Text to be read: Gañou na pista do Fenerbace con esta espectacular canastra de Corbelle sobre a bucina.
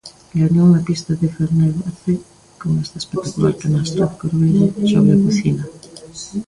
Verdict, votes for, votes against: rejected, 0, 2